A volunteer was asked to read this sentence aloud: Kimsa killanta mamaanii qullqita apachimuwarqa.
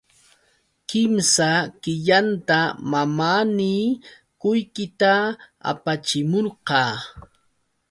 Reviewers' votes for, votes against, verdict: 2, 0, accepted